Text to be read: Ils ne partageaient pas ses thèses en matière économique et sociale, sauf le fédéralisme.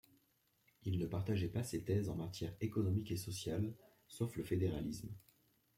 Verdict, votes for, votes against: accepted, 2, 0